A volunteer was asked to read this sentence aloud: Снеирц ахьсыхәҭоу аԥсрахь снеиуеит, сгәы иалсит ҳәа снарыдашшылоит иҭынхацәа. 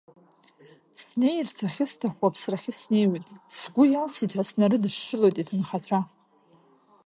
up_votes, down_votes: 0, 2